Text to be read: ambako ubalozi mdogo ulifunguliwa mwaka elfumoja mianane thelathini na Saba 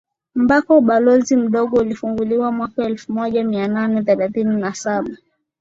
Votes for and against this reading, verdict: 10, 0, accepted